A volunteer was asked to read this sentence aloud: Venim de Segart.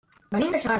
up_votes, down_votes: 0, 2